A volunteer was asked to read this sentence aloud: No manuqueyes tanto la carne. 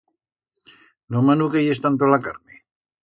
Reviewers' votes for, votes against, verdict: 2, 0, accepted